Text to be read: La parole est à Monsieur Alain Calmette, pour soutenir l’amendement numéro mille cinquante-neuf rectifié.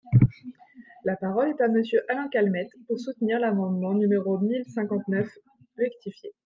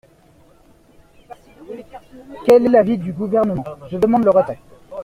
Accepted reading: first